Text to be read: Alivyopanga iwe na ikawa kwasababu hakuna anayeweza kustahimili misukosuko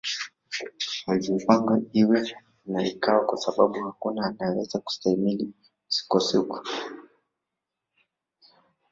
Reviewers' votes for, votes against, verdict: 1, 2, rejected